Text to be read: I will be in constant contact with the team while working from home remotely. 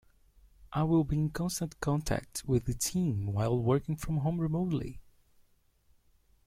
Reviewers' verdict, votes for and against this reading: accepted, 2, 0